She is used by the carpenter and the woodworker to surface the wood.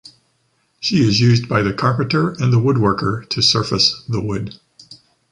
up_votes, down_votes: 2, 0